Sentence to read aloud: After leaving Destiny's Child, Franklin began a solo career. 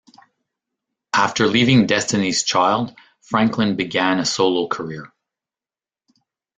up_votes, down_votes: 2, 0